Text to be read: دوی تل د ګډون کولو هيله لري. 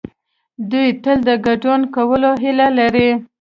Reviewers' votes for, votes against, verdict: 2, 0, accepted